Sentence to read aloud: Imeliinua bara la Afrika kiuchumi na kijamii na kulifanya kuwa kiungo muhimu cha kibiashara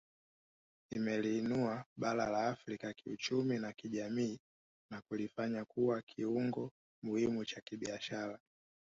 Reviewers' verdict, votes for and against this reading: rejected, 0, 3